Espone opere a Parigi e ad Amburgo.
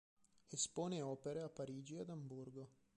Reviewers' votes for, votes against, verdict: 2, 0, accepted